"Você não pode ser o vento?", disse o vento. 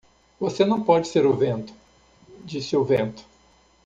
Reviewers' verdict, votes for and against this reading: accepted, 2, 0